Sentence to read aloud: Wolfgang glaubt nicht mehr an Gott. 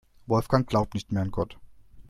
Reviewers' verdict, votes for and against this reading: accepted, 2, 0